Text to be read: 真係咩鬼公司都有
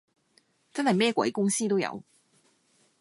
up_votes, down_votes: 2, 0